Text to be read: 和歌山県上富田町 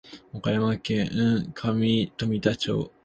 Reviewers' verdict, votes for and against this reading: rejected, 0, 2